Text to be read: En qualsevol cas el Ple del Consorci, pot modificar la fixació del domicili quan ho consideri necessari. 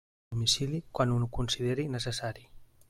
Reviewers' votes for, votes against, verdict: 0, 2, rejected